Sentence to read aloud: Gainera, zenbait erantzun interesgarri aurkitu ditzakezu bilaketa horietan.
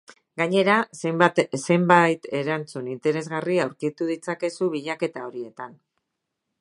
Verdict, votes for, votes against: rejected, 0, 2